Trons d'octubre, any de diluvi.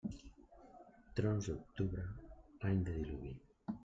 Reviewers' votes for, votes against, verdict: 1, 2, rejected